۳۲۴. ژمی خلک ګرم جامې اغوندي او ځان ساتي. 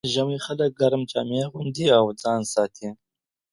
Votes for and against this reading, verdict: 0, 2, rejected